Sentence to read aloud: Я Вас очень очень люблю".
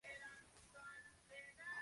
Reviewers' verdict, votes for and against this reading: rejected, 0, 2